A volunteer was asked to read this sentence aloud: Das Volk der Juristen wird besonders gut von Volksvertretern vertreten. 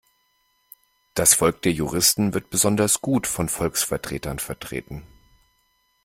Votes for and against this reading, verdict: 2, 0, accepted